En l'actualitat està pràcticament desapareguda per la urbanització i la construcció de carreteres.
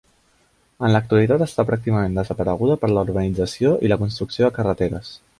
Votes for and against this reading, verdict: 2, 0, accepted